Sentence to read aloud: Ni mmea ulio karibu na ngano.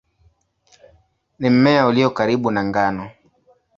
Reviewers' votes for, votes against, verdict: 2, 0, accepted